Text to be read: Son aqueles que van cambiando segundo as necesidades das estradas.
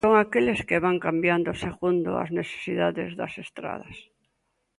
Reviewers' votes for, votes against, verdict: 2, 0, accepted